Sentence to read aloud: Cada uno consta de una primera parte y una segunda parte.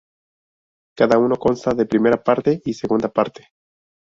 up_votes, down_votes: 0, 2